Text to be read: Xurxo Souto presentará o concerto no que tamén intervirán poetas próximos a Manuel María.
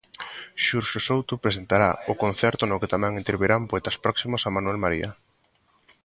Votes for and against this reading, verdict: 2, 0, accepted